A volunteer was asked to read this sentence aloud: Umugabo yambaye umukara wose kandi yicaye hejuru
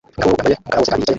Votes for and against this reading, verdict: 0, 2, rejected